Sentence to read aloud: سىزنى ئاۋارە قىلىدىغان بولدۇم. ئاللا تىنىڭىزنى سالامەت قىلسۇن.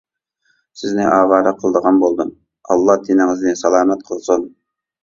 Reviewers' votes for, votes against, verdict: 2, 0, accepted